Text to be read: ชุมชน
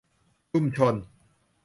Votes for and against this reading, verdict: 0, 2, rejected